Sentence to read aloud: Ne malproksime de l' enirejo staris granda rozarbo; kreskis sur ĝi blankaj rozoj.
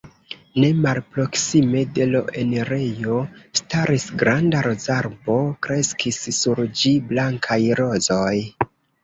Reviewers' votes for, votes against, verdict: 0, 2, rejected